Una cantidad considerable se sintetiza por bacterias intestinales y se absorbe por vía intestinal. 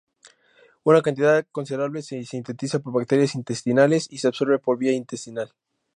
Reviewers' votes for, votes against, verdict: 2, 0, accepted